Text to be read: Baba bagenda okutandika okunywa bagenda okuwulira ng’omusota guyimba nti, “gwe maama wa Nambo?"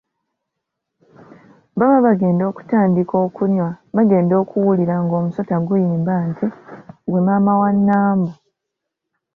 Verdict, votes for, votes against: accepted, 2, 0